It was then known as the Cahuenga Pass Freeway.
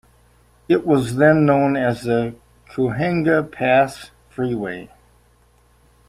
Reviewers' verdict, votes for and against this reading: rejected, 0, 2